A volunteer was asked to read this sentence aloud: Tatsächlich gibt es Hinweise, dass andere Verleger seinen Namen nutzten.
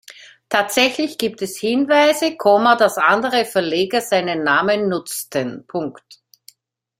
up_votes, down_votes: 0, 2